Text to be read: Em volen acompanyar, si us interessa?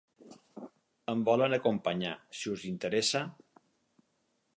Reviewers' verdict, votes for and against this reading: accepted, 8, 0